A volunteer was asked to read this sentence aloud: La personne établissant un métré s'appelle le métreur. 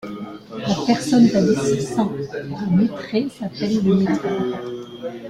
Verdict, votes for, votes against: rejected, 0, 2